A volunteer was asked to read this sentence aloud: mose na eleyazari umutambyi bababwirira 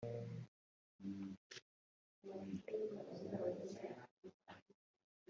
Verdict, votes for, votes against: rejected, 0, 2